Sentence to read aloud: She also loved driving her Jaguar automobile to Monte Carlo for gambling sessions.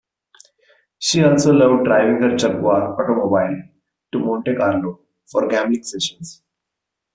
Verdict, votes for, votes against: rejected, 1, 2